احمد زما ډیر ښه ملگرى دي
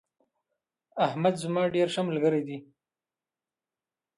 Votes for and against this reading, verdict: 0, 2, rejected